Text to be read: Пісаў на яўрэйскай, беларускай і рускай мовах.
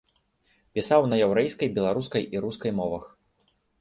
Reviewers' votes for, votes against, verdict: 2, 0, accepted